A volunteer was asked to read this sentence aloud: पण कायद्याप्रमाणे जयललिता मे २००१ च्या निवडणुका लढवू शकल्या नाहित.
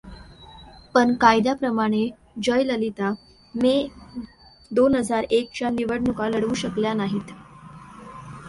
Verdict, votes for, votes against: rejected, 0, 2